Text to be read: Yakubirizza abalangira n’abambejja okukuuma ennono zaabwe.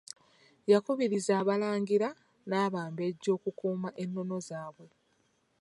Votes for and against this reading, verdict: 0, 2, rejected